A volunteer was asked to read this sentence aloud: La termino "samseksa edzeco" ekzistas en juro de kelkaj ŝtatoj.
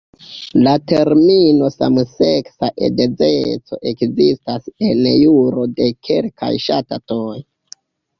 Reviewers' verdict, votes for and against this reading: rejected, 0, 2